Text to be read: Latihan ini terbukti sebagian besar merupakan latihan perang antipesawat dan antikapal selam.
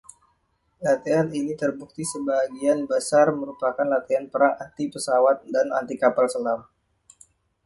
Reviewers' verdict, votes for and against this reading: accepted, 2, 0